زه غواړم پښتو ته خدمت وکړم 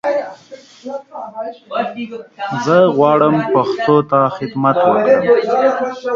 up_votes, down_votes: 1, 2